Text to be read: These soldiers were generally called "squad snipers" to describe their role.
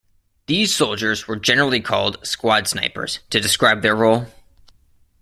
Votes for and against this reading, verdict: 3, 1, accepted